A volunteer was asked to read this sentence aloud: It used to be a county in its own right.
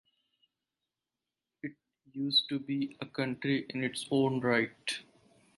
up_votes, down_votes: 2, 4